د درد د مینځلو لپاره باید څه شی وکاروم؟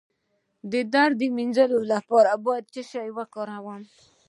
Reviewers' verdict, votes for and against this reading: accepted, 2, 0